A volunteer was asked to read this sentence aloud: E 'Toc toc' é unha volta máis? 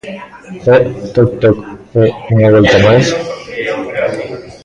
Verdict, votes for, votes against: rejected, 0, 3